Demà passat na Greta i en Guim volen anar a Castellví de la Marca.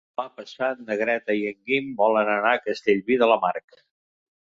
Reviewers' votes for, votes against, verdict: 0, 2, rejected